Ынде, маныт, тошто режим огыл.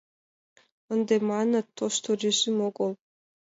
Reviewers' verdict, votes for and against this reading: accepted, 2, 0